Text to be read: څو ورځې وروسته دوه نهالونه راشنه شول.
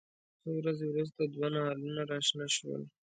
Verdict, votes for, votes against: accepted, 2, 0